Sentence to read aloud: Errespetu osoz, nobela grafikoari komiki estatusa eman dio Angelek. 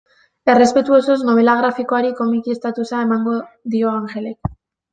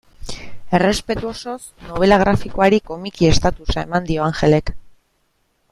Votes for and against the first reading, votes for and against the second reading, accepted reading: 0, 3, 3, 0, second